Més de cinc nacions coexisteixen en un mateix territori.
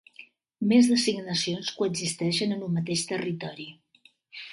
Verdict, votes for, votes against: accepted, 2, 0